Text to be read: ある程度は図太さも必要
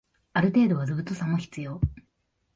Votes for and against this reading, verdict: 2, 1, accepted